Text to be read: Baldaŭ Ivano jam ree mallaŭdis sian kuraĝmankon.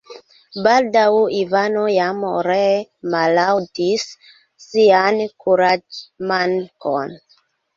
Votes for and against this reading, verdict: 2, 0, accepted